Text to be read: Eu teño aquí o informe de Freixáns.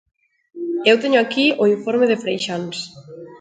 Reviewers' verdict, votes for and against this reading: accepted, 2, 0